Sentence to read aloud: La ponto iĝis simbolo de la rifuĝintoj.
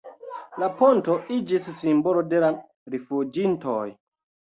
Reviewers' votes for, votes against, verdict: 2, 0, accepted